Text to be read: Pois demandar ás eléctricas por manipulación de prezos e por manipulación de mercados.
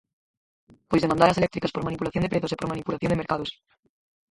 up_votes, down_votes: 0, 4